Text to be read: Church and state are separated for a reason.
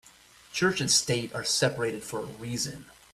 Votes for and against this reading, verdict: 2, 0, accepted